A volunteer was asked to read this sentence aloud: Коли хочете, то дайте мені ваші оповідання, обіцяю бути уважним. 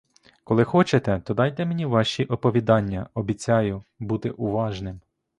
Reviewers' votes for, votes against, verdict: 2, 0, accepted